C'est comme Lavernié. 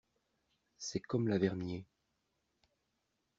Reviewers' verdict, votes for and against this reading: accepted, 2, 0